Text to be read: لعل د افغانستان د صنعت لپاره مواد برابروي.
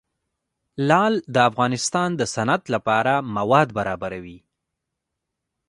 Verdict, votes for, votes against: rejected, 0, 2